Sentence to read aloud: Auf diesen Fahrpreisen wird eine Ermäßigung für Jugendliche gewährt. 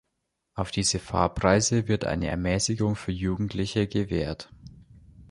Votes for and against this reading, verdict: 1, 2, rejected